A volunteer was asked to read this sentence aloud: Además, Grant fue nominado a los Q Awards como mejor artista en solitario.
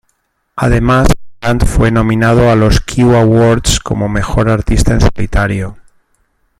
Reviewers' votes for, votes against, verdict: 1, 2, rejected